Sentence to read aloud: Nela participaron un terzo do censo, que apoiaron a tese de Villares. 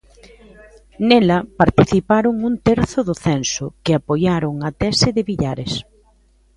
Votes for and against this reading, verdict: 2, 0, accepted